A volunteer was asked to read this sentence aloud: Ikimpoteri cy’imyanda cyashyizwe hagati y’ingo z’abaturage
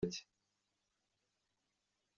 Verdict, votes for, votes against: rejected, 0, 2